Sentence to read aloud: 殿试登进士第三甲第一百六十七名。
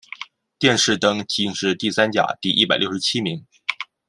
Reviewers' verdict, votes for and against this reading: accepted, 2, 0